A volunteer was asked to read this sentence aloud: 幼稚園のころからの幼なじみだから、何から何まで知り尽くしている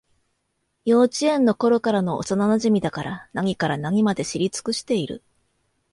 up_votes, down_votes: 2, 1